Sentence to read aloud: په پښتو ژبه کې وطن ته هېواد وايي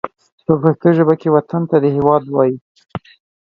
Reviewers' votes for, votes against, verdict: 0, 2, rejected